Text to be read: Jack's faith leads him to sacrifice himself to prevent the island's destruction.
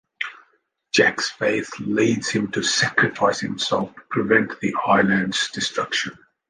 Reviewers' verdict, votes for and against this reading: accepted, 2, 0